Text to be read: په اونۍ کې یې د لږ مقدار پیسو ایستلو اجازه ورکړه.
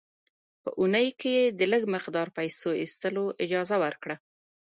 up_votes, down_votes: 2, 0